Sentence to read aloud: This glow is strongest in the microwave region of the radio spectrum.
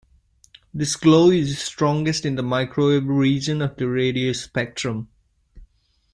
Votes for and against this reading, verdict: 2, 0, accepted